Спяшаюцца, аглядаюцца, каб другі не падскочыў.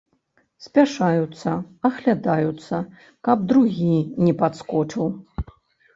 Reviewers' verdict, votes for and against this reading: accepted, 3, 0